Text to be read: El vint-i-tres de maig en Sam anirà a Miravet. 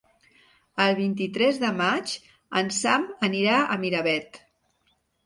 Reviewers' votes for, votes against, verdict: 2, 0, accepted